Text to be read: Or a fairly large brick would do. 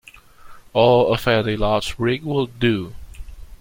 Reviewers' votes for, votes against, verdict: 1, 2, rejected